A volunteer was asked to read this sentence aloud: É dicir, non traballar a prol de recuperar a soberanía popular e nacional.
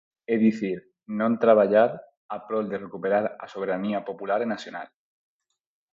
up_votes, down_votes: 4, 0